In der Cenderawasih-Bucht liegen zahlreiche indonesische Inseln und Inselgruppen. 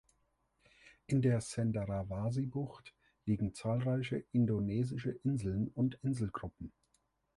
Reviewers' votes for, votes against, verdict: 3, 0, accepted